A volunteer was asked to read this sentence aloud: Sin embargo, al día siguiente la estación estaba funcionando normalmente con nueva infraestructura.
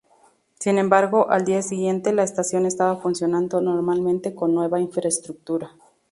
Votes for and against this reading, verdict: 2, 0, accepted